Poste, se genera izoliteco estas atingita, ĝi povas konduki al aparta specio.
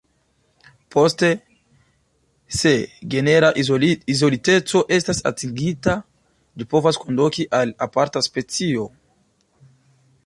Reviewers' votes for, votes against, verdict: 2, 0, accepted